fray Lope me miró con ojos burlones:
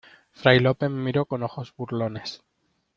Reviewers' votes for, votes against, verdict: 2, 1, accepted